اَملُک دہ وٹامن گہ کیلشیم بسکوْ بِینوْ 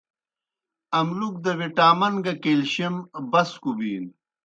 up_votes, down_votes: 2, 0